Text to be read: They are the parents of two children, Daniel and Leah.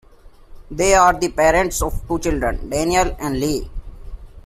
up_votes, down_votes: 0, 2